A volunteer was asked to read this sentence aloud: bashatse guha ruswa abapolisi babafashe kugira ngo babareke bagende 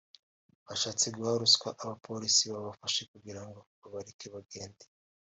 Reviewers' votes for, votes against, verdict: 1, 2, rejected